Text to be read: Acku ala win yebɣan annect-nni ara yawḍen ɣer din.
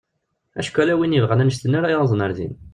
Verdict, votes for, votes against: rejected, 0, 2